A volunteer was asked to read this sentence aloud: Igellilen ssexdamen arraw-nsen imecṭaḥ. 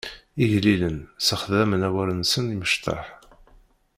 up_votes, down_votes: 0, 2